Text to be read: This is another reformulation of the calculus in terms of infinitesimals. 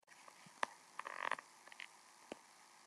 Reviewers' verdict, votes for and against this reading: rejected, 0, 2